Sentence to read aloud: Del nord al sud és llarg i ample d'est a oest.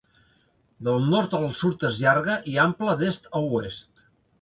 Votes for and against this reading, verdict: 0, 2, rejected